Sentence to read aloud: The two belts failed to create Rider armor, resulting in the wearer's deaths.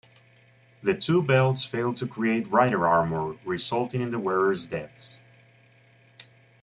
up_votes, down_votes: 2, 1